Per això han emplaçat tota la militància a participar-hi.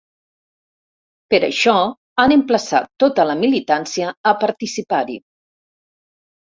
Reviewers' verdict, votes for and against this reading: rejected, 1, 2